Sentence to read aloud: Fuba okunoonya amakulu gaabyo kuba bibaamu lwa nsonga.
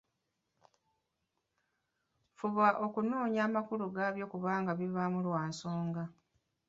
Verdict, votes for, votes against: accepted, 2, 1